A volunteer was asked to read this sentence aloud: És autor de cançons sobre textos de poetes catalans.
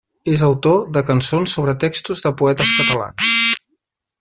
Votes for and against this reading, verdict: 2, 4, rejected